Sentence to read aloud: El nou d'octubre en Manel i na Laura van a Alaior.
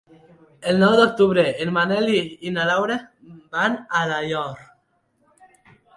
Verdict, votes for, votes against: accepted, 2, 1